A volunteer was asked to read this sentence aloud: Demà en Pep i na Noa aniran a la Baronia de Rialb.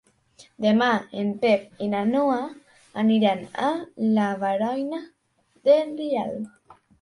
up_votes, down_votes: 0, 2